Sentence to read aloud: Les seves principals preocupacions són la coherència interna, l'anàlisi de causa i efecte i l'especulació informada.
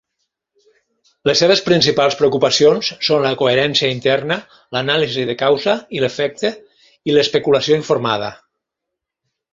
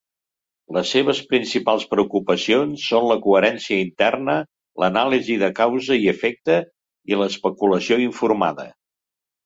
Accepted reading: second